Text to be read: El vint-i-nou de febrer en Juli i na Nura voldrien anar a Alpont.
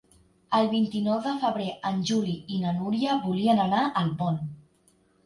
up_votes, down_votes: 0, 2